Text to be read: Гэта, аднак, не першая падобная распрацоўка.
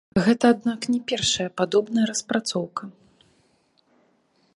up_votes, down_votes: 0, 2